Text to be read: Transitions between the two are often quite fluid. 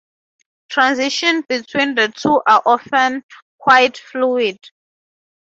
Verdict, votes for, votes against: rejected, 0, 2